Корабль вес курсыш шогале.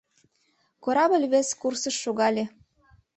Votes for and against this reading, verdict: 2, 0, accepted